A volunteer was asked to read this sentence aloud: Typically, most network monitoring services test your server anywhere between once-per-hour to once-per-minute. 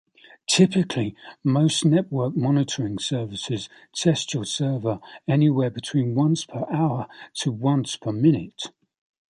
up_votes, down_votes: 2, 0